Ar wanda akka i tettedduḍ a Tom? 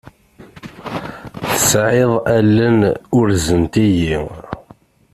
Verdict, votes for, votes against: rejected, 0, 2